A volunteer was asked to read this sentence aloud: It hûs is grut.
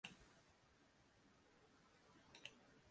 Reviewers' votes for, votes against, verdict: 0, 2, rejected